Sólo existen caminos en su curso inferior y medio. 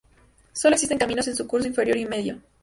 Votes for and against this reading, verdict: 2, 0, accepted